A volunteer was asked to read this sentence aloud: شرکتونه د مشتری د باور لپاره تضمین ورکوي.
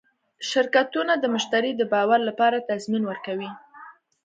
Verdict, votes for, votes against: accepted, 2, 0